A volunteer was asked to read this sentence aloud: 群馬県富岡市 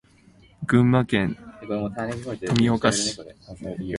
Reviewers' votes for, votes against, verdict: 1, 2, rejected